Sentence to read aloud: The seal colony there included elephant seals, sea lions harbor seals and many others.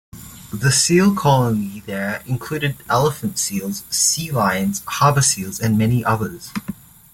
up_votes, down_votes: 0, 2